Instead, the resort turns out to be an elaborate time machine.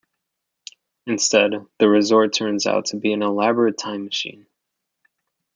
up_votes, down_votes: 2, 0